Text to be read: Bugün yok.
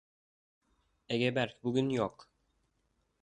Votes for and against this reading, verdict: 0, 2, rejected